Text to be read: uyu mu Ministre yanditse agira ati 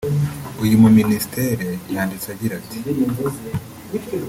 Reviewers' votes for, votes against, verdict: 1, 2, rejected